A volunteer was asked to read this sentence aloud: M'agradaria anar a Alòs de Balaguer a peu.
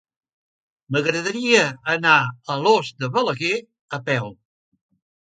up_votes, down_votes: 2, 0